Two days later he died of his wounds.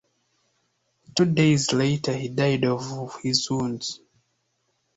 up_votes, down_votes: 1, 2